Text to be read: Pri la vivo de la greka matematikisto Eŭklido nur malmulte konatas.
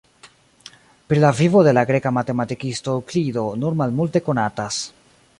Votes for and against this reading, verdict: 2, 0, accepted